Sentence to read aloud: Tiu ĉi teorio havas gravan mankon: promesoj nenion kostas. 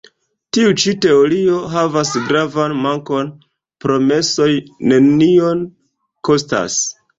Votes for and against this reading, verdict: 2, 0, accepted